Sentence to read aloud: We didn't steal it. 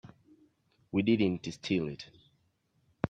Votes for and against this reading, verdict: 0, 2, rejected